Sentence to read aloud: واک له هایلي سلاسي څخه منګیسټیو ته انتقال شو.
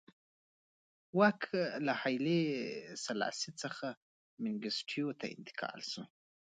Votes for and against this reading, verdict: 2, 1, accepted